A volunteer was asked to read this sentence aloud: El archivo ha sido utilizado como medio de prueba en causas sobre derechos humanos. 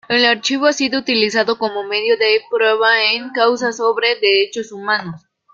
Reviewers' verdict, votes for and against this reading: rejected, 0, 2